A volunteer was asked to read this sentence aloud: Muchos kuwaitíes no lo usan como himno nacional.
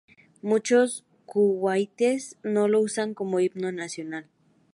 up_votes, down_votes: 2, 0